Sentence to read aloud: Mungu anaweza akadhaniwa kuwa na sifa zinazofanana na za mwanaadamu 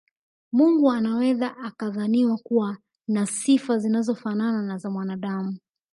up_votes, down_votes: 3, 0